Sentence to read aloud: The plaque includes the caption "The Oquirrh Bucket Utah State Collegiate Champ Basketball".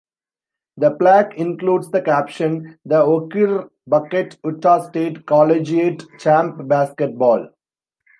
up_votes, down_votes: 1, 2